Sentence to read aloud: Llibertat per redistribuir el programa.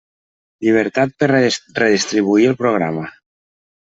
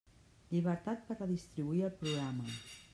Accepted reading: second